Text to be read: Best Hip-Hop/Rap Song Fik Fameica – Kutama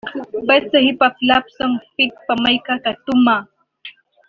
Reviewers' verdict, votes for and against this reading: rejected, 0, 3